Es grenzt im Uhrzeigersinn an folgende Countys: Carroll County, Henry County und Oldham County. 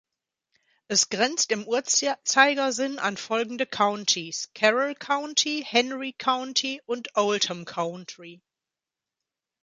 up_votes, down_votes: 0, 3